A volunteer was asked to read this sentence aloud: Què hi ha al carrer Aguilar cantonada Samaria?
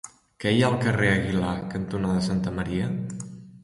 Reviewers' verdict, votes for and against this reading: rejected, 0, 2